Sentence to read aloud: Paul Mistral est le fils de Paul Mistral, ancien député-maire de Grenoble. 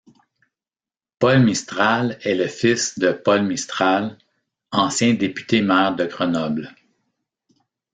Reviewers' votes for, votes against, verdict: 2, 1, accepted